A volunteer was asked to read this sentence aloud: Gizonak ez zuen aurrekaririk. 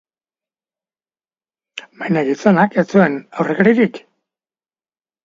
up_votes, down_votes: 0, 2